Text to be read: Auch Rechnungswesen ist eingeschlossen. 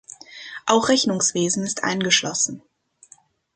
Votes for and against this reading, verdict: 2, 0, accepted